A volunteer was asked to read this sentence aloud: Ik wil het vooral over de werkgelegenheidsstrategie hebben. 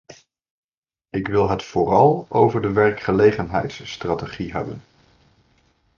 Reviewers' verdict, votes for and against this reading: rejected, 1, 2